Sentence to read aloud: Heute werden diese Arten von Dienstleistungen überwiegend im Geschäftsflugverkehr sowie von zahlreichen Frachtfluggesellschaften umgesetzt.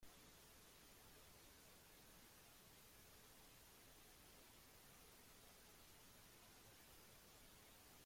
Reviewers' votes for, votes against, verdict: 0, 2, rejected